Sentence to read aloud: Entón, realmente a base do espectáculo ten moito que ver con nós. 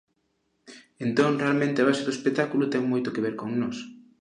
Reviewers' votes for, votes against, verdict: 2, 0, accepted